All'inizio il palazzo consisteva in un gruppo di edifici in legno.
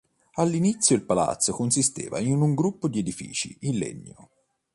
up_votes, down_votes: 2, 0